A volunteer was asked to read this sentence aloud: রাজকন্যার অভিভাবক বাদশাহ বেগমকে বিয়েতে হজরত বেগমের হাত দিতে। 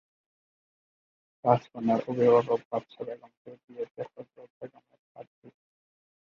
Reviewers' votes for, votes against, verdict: 0, 2, rejected